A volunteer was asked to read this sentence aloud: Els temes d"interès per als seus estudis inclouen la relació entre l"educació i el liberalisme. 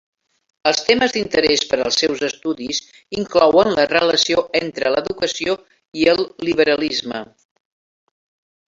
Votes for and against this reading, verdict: 2, 3, rejected